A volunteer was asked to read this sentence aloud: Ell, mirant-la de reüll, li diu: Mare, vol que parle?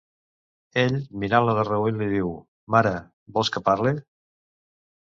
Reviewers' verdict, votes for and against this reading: rejected, 1, 2